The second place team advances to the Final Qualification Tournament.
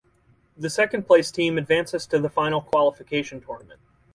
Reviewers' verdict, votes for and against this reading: accepted, 4, 0